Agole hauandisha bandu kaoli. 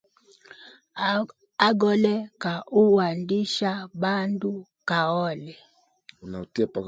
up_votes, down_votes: 1, 2